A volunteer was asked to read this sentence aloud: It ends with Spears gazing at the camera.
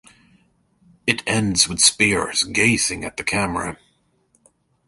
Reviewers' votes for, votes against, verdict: 2, 0, accepted